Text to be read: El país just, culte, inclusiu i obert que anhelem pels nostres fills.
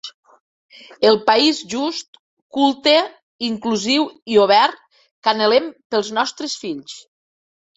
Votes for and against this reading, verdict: 2, 0, accepted